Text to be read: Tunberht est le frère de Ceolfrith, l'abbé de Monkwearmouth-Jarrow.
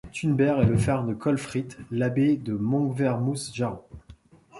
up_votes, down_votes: 1, 2